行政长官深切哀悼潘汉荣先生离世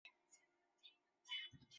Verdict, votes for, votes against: rejected, 0, 4